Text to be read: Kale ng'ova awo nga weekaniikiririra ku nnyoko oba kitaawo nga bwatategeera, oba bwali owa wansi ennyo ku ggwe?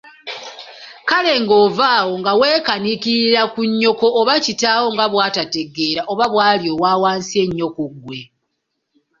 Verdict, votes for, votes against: accepted, 2, 0